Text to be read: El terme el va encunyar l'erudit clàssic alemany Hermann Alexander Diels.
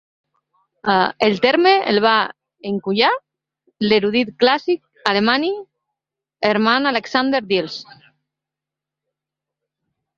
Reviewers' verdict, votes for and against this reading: rejected, 0, 2